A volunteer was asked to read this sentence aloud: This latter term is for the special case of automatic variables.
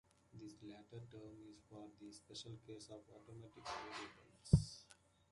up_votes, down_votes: 2, 0